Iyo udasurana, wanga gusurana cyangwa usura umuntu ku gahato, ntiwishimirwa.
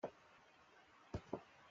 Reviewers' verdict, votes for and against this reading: rejected, 0, 2